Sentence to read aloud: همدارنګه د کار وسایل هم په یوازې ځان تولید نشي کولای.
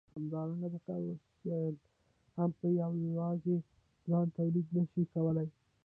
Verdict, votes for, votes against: rejected, 1, 2